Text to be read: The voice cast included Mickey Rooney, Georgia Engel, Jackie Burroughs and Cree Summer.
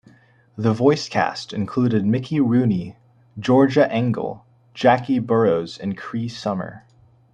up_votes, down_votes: 2, 0